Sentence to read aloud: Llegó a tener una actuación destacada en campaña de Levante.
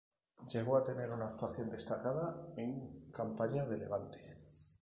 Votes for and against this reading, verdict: 2, 0, accepted